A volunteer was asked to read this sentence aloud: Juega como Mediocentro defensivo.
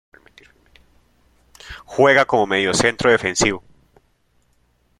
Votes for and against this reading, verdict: 2, 0, accepted